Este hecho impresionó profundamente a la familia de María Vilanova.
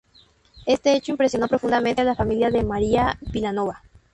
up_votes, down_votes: 0, 2